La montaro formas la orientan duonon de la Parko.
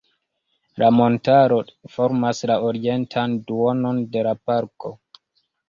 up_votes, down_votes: 2, 1